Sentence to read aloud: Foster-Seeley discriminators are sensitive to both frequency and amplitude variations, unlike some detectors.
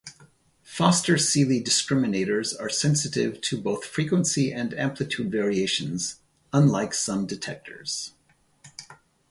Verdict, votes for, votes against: accepted, 2, 0